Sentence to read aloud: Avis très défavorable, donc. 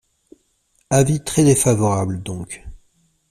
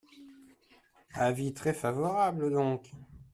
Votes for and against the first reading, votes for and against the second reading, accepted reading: 2, 0, 0, 2, first